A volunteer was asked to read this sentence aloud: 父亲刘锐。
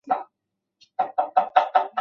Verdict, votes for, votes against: rejected, 0, 2